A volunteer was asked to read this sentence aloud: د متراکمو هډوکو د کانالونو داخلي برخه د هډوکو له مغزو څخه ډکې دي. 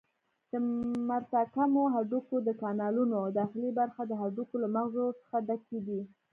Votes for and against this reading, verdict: 2, 0, accepted